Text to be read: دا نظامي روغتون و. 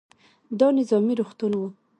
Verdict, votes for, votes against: accepted, 2, 0